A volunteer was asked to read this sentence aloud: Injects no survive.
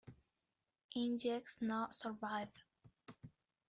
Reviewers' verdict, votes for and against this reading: rejected, 1, 2